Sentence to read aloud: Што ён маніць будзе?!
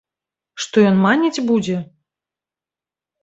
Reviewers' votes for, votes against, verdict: 1, 2, rejected